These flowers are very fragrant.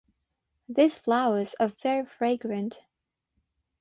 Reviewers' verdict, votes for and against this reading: rejected, 0, 6